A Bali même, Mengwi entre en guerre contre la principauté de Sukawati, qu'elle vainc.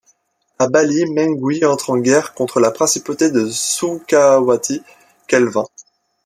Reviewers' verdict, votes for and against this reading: rejected, 1, 2